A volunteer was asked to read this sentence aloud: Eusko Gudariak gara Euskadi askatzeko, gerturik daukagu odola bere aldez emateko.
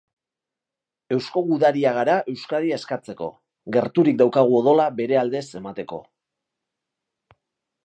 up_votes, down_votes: 2, 1